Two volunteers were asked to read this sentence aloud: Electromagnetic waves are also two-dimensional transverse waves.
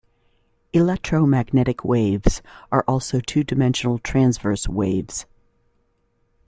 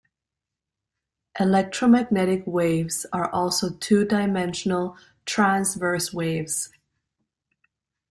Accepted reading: second